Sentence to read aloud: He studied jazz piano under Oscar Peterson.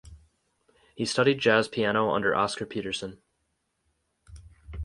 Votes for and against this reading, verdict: 4, 0, accepted